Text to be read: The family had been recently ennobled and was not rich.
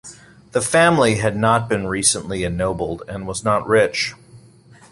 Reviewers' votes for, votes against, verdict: 1, 2, rejected